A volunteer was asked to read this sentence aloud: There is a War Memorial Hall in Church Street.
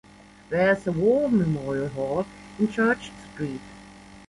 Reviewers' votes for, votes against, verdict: 1, 2, rejected